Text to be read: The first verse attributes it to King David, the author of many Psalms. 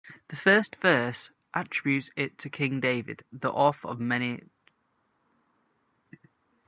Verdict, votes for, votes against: rejected, 0, 2